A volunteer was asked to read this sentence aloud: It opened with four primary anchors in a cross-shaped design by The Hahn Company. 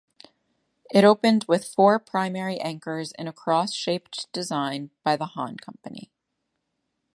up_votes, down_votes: 2, 1